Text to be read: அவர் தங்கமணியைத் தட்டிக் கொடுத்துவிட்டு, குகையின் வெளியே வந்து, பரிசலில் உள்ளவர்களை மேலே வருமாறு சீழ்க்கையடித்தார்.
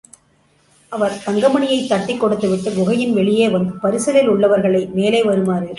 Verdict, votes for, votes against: rejected, 0, 2